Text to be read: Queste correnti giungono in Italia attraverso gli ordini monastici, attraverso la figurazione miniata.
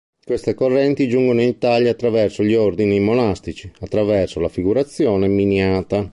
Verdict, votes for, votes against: accepted, 2, 0